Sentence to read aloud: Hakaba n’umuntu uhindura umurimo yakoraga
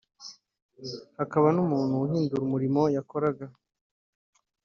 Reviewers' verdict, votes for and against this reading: accepted, 2, 0